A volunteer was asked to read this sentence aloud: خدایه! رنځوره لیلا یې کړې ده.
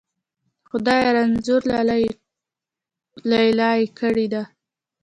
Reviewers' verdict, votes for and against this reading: accepted, 2, 0